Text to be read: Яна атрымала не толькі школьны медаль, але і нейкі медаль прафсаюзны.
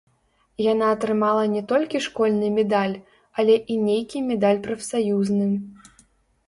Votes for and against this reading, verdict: 1, 2, rejected